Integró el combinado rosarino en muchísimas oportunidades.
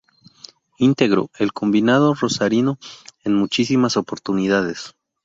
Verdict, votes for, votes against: rejected, 0, 2